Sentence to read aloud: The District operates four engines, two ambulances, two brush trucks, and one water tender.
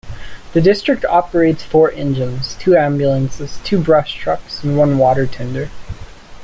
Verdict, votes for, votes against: accepted, 2, 0